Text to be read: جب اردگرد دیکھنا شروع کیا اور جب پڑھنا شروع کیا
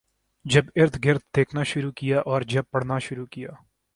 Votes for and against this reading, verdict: 4, 0, accepted